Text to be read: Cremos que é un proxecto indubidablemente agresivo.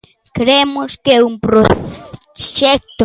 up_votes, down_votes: 0, 2